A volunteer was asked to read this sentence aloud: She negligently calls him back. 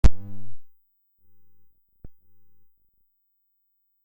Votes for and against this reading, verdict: 0, 2, rejected